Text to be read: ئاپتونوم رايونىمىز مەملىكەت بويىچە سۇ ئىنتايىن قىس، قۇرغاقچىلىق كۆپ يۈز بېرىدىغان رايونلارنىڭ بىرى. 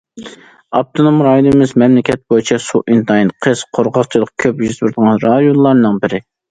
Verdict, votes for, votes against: accepted, 2, 1